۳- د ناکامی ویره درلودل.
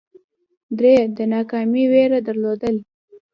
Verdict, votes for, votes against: rejected, 0, 2